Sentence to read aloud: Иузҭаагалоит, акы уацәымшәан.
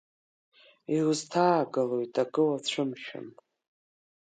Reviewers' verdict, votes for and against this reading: rejected, 0, 2